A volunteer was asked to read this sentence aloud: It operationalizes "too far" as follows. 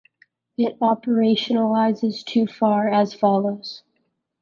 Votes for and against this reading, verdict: 1, 2, rejected